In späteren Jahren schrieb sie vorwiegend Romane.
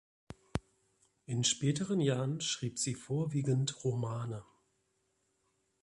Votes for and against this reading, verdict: 2, 0, accepted